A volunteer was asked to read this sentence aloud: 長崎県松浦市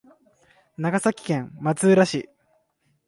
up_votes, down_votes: 3, 0